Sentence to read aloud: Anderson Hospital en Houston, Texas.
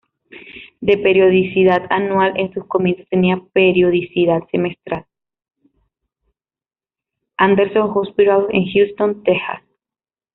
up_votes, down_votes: 0, 2